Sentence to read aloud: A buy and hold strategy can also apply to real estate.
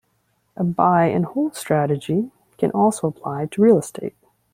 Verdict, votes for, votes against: accepted, 2, 0